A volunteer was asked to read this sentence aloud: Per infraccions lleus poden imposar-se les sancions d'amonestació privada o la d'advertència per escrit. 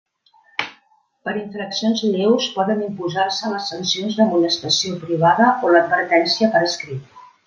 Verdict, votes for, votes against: accepted, 2, 0